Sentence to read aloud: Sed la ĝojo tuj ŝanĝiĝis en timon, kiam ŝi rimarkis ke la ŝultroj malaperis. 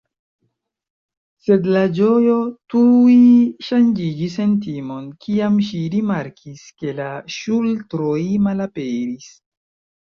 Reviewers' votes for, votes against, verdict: 2, 0, accepted